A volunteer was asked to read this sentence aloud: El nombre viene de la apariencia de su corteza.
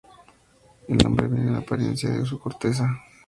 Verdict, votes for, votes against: rejected, 0, 2